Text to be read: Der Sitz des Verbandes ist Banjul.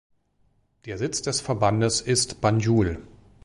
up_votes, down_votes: 2, 0